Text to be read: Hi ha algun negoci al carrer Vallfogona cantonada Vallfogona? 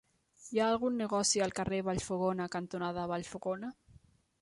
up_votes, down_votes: 3, 0